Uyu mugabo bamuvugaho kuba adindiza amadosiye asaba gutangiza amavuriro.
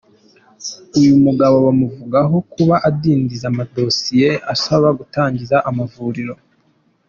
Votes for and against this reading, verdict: 2, 0, accepted